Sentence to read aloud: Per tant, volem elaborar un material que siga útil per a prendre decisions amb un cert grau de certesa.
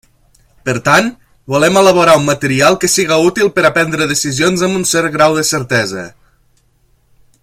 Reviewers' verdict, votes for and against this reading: accepted, 3, 0